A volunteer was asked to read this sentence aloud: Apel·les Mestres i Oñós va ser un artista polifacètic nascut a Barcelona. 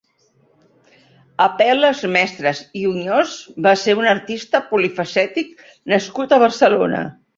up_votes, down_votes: 4, 0